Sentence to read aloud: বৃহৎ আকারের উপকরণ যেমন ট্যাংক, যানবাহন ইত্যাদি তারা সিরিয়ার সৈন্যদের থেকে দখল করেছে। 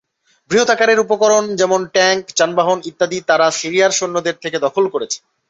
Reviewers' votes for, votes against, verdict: 0, 2, rejected